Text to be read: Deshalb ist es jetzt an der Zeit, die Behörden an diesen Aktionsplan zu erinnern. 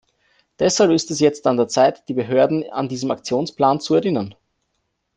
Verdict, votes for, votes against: accepted, 2, 0